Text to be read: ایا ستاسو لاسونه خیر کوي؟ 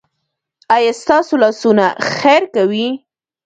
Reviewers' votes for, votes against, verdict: 0, 2, rejected